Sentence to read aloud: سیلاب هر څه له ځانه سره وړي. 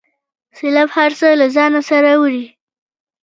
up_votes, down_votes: 2, 0